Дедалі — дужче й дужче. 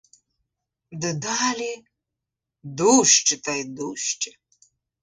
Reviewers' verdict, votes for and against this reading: rejected, 1, 2